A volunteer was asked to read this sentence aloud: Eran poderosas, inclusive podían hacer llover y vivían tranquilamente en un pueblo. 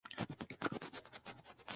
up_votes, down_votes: 0, 2